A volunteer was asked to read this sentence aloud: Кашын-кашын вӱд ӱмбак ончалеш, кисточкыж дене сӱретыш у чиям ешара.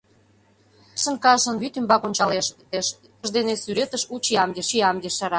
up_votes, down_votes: 0, 2